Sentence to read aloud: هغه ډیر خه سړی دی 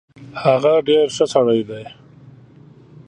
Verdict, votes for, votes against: accepted, 2, 1